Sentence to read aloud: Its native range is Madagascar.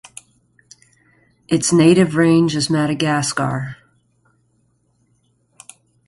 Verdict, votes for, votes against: accepted, 2, 0